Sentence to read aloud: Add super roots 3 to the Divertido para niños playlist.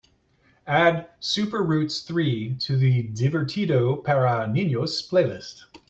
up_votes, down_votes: 0, 2